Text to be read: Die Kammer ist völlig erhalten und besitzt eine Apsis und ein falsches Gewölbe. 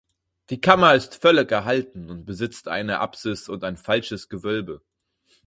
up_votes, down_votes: 2, 4